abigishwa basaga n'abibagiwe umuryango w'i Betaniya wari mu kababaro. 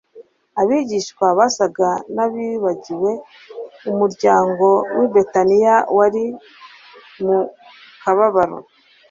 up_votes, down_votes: 2, 0